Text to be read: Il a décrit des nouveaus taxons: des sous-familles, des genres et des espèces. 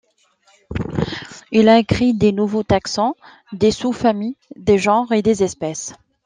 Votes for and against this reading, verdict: 1, 2, rejected